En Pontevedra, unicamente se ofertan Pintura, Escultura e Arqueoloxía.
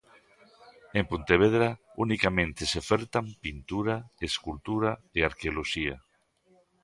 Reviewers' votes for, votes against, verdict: 2, 0, accepted